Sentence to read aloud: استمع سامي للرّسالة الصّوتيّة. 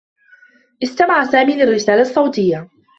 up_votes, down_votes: 2, 0